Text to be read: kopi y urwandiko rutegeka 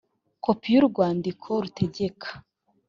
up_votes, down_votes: 2, 0